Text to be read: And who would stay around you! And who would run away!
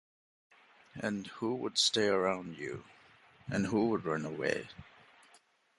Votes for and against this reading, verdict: 1, 2, rejected